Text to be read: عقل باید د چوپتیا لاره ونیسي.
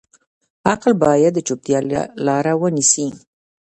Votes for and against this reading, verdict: 0, 2, rejected